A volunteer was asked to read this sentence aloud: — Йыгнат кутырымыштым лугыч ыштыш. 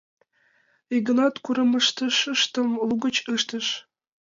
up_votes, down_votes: 0, 2